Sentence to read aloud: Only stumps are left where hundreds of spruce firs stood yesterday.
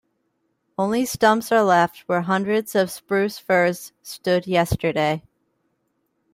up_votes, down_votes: 2, 0